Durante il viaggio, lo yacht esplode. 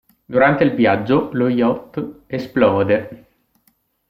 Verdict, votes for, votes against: accepted, 2, 0